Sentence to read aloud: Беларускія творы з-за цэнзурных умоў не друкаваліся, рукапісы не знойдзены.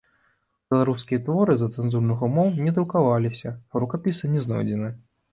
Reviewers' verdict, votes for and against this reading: rejected, 0, 2